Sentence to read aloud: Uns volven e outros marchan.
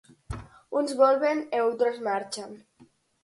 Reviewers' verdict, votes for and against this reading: accepted, 4, 0